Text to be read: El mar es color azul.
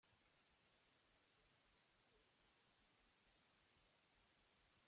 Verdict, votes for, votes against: rejected, 0, 2